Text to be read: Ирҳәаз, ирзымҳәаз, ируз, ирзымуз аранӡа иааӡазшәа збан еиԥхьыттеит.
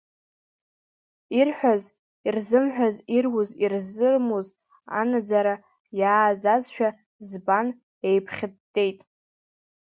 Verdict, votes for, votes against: rejected, 0, 2